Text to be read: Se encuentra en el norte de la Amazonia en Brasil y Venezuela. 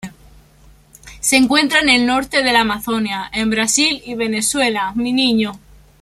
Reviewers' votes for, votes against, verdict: 0, 2, rejected